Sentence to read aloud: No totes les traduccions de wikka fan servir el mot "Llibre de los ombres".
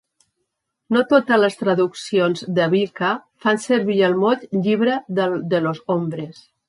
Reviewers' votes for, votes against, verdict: 1, 2, rejected